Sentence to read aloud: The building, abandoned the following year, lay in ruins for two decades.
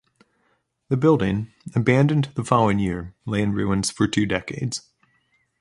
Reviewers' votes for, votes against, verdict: 2, 0, accepted